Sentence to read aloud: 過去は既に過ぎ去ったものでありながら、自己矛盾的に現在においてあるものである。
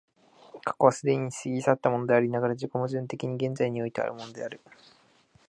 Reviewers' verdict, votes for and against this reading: rejected, 1, 2